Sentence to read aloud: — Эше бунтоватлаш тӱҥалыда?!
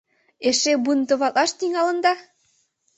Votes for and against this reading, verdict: 1, 2, rejected